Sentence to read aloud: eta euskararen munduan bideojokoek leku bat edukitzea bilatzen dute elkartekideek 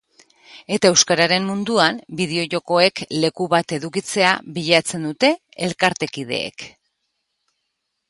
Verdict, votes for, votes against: accepted, 2, 0